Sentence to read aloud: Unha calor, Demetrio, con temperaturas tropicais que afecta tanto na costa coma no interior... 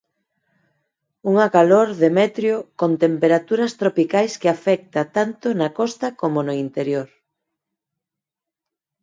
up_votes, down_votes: 2, 4